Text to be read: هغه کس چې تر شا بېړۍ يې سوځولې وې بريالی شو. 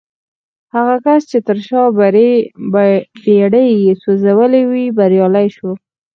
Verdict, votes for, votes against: accepted, 4, 0